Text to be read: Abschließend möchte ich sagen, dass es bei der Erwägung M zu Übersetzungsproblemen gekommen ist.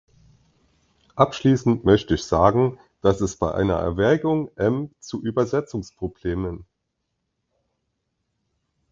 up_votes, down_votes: 0, 2